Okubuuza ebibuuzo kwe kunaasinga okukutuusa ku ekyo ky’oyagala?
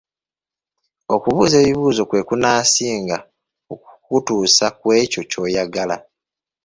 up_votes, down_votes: 0, 2